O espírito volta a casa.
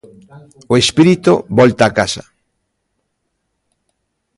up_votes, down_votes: 1, 2